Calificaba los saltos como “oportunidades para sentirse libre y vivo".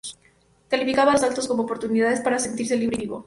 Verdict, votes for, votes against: rejected, 2, 2